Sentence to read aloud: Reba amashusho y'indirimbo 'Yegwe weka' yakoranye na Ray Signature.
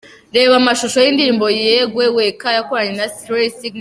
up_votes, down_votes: 0, 3